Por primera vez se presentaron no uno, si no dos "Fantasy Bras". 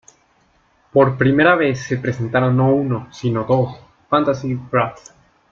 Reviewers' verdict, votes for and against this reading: accepted, 2, 0